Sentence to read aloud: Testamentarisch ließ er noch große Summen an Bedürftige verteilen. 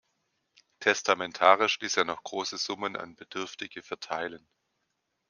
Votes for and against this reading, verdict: 2, 0, accepted